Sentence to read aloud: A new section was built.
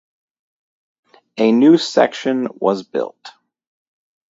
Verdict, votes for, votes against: accepted, 2, 0